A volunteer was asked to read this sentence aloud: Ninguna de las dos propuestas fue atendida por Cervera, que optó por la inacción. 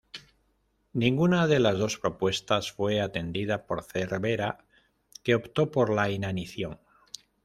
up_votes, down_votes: 0, 2